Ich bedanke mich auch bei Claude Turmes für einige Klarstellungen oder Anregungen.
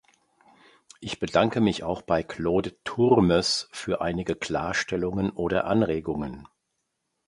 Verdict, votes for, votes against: accepted, 2, 0